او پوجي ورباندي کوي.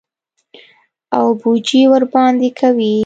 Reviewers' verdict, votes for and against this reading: accepted, 2, 0